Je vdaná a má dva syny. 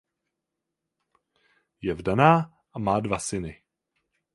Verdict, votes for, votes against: accepted, 8, 0